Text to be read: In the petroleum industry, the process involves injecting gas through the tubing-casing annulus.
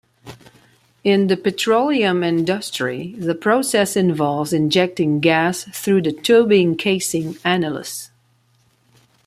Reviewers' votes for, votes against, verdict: 2, 0, accepted